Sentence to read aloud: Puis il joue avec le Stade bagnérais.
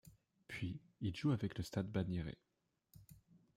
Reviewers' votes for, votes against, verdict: 2, 1, accepted